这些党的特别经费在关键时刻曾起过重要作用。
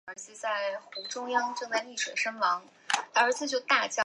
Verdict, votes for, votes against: rejected, 0, 3